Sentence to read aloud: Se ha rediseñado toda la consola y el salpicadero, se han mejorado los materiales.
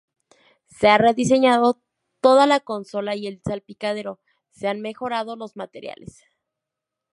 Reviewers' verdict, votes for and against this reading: accepted, 2, 0